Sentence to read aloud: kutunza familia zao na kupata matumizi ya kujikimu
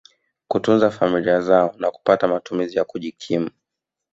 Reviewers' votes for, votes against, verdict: 2, 1, accepted